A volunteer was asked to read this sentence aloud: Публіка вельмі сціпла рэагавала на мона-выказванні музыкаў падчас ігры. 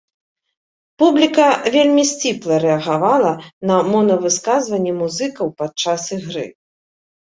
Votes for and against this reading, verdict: 0, 2, rejected